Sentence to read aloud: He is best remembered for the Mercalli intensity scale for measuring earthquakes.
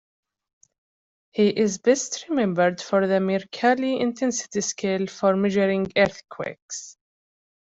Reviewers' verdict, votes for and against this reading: accepted, 2, 0